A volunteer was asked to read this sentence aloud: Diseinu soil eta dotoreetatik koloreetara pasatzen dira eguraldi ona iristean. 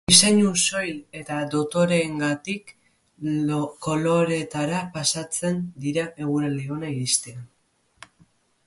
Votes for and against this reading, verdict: 0, 2, rejected